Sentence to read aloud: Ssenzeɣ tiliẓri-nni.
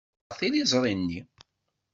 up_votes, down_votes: 0, 2